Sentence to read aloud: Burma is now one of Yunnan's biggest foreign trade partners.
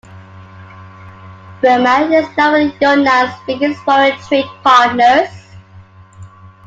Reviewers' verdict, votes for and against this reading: rejected, 1, 2